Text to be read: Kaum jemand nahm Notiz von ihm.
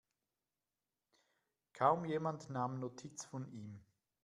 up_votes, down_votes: 2, 0